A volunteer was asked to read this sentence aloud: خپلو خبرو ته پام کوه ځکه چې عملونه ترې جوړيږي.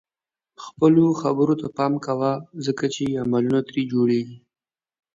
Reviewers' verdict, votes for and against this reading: accepted, 2, 0